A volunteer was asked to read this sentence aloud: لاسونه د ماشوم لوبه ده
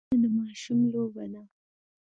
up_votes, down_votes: 2, 0